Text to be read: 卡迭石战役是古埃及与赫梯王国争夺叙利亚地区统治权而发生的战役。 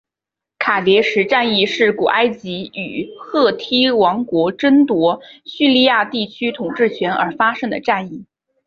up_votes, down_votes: 2, 0